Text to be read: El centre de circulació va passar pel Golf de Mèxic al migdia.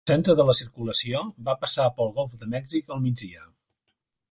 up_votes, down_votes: 0, 2